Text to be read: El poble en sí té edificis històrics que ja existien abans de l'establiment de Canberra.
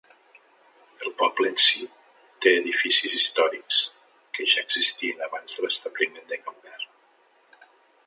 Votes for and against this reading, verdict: 2, 0, accepted